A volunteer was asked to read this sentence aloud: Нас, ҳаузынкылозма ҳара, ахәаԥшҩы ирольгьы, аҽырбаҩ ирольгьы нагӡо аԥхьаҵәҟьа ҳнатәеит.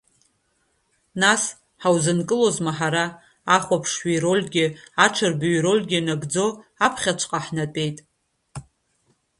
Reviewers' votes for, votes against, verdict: 2, 0, accepted